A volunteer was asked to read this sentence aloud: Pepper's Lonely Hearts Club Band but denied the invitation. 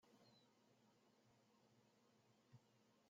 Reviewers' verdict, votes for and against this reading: rejected, 0, 2